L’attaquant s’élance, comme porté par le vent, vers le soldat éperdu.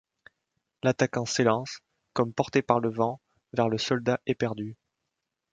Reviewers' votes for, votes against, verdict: 1, 2, rejected